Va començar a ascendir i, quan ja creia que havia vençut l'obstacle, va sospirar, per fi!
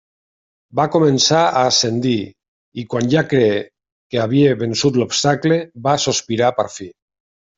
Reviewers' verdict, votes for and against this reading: rejected, 0, 2